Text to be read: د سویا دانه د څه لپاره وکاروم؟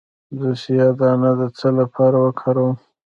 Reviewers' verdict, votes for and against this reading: accepted, 2, 1